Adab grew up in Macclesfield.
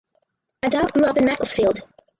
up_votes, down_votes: 2, 4